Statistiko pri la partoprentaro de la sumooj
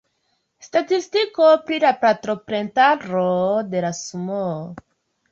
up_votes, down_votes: 0, 2